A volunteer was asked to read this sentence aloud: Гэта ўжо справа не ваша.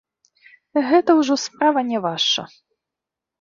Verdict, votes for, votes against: accepted, 2, 1